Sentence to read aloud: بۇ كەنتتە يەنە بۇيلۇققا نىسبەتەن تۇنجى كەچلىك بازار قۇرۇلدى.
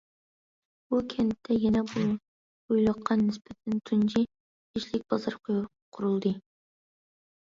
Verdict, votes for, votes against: rejected, 0, 2